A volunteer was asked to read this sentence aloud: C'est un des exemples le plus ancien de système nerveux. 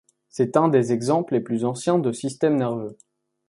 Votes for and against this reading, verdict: 0, 2, rejected